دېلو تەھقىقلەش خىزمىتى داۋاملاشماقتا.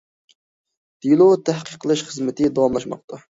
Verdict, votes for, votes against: accepted, 2, 1